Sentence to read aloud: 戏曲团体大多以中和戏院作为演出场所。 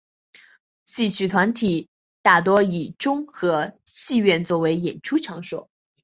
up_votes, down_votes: 2, 1